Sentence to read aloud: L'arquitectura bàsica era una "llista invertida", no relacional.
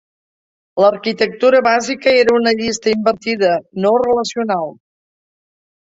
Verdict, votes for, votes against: rejected, 1, 2